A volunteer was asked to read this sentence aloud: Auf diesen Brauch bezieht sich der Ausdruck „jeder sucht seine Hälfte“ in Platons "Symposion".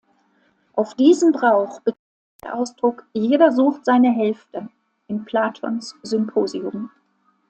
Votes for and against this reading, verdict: 0, 2, rejected